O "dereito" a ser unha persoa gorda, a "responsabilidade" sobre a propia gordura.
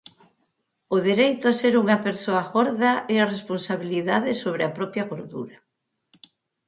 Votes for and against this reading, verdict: 0, 4, rejected